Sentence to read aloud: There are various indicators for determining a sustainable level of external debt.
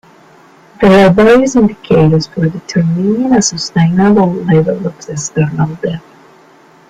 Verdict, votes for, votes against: rejected, 0, 2